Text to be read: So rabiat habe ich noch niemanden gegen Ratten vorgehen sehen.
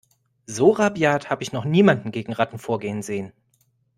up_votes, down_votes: 2, 0